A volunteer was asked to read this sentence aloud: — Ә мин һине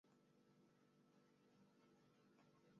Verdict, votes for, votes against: rejected, 1, 2